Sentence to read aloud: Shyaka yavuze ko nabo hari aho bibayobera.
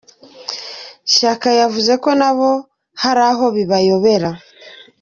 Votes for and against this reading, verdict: 2, 0, accepted